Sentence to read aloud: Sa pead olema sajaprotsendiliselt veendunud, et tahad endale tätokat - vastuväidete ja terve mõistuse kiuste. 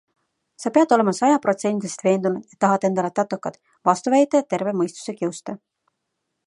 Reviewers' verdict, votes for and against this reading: rejected, 1, 2